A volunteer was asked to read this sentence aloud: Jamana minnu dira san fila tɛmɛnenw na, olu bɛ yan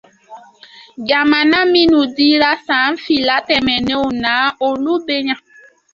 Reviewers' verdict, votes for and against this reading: accepted, 2, 0